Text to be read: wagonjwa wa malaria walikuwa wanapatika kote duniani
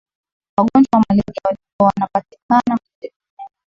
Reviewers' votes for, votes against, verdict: 0, 2, rejected